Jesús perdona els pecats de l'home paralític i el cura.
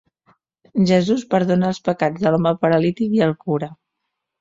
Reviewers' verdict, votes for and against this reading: accepted, 2, 0